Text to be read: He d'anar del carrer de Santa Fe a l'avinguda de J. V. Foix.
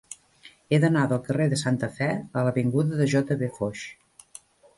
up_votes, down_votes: 1, 2